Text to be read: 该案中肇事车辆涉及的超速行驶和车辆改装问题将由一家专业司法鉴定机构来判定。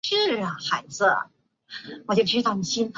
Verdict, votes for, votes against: rejected, 0, 2